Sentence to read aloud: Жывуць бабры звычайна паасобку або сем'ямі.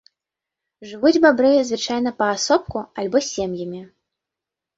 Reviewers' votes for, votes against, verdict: 0, 2, rejected